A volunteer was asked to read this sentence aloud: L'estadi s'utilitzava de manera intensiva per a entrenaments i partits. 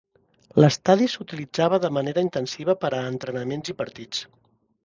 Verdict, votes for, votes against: accepted, 3, 0